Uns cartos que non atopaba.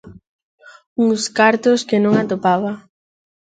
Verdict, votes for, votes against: accepted, 2, 0